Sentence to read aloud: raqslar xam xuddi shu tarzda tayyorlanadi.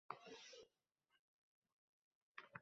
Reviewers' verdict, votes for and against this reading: rejected, 0, 2